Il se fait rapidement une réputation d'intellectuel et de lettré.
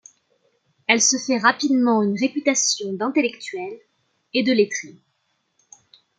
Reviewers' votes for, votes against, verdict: 0, 2, rejected